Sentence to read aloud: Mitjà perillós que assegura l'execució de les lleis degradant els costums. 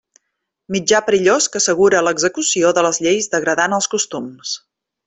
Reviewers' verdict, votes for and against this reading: accepted, 3, 0